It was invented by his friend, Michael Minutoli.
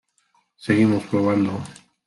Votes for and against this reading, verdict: 0, 2, rejected